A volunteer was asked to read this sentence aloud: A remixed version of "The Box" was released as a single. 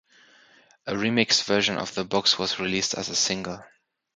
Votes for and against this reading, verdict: 3, 0, accepted